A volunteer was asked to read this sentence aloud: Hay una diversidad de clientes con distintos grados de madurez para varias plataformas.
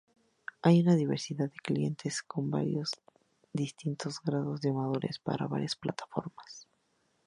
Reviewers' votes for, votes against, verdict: 0, 2, rejected